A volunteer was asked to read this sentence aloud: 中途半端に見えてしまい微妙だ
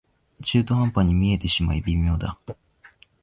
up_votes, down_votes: 2, 0